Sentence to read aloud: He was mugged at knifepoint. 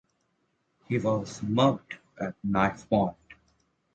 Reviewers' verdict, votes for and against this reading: accepted, 2, 0